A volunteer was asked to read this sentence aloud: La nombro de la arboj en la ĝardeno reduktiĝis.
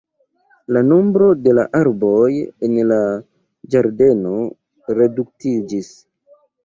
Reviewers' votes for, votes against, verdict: 1, 2, rejected